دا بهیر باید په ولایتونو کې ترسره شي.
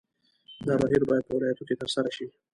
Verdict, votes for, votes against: rejected, 1, 2